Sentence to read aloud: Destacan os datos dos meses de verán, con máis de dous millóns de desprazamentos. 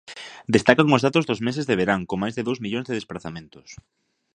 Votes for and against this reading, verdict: 3, 0, accepted